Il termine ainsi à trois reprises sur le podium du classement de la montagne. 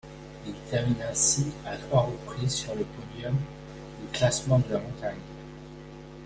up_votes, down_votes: 1, 2